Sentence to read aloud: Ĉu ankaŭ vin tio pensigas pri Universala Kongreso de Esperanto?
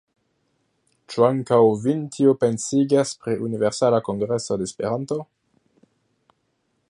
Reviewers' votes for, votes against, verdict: 2, 0, accepted